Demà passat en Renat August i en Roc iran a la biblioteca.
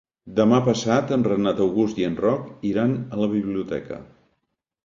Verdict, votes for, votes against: accepted, 3, 0